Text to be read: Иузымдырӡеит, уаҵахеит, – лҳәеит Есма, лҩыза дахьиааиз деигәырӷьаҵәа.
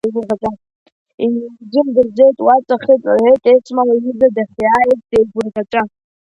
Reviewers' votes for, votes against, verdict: 0, 2, rejected